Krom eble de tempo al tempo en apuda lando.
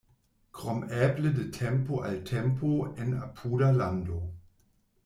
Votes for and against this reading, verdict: 2, 0, accepted